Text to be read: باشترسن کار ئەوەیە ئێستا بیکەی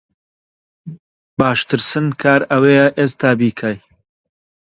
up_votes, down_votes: 2, 0